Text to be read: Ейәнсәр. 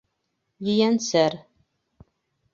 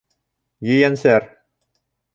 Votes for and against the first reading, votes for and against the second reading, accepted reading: 1, 2, 2, 0, second